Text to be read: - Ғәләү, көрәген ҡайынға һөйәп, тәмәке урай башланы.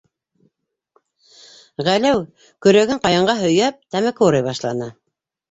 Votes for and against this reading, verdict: 2, 1, accepted